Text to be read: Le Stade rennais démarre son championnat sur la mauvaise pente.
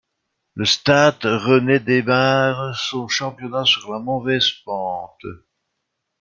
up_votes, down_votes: 1, 2